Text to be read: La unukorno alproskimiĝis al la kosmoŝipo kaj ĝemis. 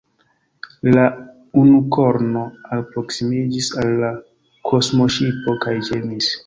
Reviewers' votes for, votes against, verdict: 2, 1, accepted